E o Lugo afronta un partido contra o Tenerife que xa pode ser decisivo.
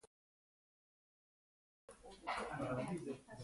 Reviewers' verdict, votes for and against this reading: rejected, 0, 2